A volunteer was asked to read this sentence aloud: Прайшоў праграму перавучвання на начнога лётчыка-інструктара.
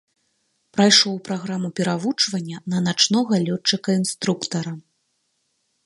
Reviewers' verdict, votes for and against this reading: accepted, 2, 0